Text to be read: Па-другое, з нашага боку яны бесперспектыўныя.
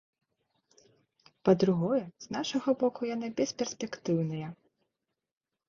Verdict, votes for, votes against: accepted, 2, 0